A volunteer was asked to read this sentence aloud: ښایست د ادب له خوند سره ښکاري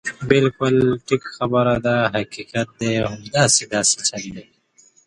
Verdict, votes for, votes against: rejected, 1, 2